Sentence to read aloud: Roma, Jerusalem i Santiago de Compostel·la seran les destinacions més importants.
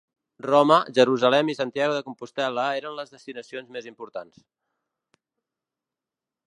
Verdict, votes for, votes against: rejected, 0, 2